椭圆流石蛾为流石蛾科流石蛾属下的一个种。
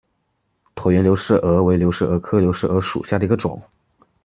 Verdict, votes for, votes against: accepted, 2, 0